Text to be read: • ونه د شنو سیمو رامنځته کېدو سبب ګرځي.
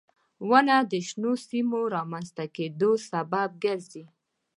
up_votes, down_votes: 2, 0